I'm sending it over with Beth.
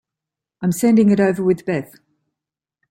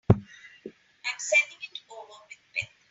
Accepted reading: first